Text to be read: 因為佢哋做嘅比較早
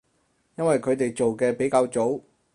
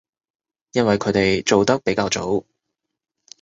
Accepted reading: first